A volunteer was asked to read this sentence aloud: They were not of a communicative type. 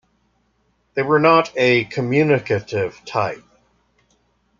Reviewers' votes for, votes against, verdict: 1, 2, rejected